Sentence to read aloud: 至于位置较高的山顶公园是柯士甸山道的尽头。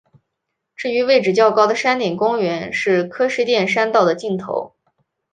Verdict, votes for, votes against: accepted, 3, 0